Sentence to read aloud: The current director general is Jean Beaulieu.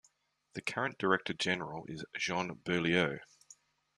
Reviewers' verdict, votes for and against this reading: accepted, 2, 0